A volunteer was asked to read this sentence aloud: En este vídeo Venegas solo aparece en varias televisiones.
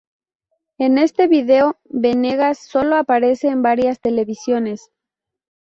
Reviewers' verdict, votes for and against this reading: rejected, 0, 2